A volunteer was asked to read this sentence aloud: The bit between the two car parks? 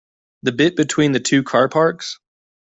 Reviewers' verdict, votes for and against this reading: accepted, 2, 0